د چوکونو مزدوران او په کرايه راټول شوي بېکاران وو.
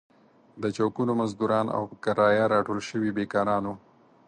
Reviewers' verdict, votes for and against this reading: accepted, 4, 0